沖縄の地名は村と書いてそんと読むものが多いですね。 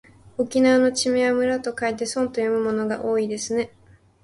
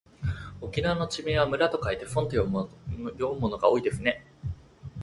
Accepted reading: first